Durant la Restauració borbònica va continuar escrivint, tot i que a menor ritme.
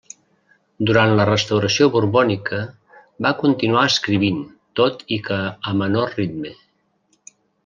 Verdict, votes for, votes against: rejected, 1, 2